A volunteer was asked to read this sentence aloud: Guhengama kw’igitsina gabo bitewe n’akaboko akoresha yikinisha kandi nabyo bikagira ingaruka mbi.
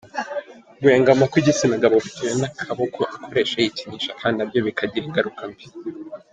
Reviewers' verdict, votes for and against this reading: accepted, 2, 1